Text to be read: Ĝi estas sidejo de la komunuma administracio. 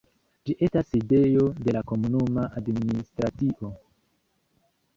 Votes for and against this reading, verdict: 2, 1, accepted